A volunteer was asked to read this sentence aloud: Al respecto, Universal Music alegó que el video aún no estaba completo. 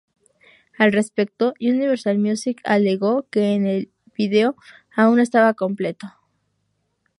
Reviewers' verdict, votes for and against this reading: rejected, 0, 2